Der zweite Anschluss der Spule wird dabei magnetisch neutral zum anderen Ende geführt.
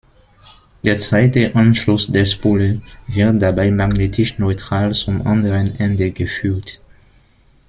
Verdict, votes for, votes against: rejected, 1, 2